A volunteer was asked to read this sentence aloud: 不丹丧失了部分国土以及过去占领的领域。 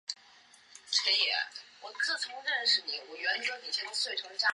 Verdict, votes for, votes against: rejected, 0, 6